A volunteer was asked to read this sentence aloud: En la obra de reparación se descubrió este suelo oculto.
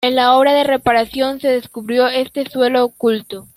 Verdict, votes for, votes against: rejected, 1, 2